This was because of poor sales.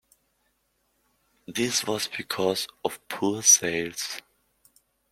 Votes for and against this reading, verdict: 2, 0, accepted